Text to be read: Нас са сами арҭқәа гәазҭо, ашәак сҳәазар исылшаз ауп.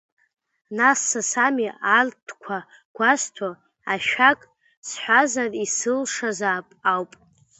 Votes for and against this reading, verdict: 0, 2, rejected